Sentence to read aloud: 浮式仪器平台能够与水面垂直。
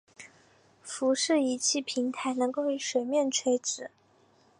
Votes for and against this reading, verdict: 3, 0, accepted